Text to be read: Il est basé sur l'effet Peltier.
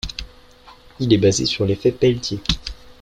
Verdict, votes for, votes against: accepted, 2, 0